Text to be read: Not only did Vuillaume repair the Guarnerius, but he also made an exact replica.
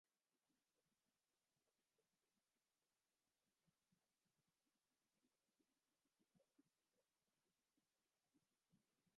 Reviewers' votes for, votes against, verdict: 0, 2, rejected